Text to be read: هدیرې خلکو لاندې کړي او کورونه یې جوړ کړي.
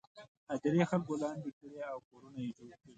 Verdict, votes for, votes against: rejected, 0, 2